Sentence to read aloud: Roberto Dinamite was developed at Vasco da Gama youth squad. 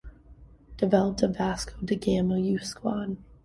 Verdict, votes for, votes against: rejected, 1, 2